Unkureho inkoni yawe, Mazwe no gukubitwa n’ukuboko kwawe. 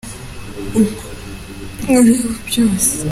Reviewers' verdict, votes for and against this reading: rejected, 0, 2